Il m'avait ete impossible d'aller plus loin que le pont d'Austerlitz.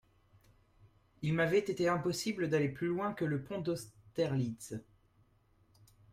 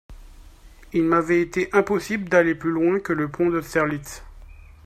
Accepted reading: second